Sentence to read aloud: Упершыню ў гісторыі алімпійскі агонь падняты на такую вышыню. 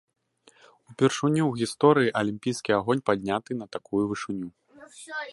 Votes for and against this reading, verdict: 1, 2, rejected